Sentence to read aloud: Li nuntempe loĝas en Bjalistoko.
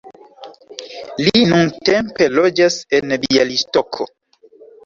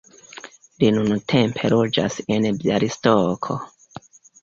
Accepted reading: first